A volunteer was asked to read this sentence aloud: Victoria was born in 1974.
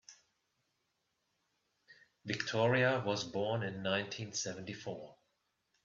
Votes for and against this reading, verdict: 0, 2, rejected